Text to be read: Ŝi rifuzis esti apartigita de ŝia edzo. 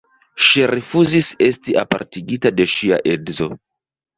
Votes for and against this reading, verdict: 1, 3, rejected